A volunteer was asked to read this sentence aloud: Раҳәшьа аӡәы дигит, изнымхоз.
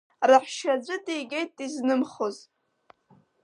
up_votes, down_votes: 3, 5